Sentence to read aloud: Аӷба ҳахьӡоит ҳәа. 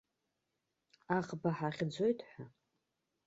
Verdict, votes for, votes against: rejected, 1, 2